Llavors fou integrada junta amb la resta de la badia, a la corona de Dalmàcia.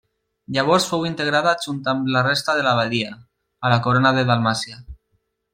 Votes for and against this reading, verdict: 1, 2, rejected